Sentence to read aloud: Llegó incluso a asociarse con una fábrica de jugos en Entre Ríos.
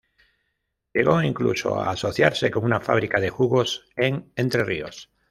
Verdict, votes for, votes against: rejected, 1, 2